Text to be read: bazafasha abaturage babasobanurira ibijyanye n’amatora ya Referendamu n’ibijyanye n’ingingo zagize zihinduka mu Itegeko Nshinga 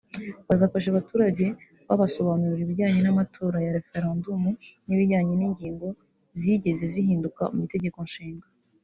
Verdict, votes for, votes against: rejected, 0, 2